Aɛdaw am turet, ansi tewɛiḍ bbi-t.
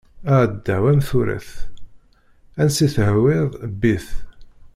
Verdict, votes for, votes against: rejected, 1, 2